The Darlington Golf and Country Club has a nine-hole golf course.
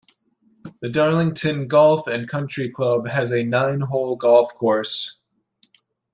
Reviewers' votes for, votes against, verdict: 2, 0, accepted